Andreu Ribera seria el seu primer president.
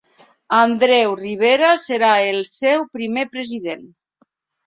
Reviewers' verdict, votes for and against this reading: rejected, 0, 2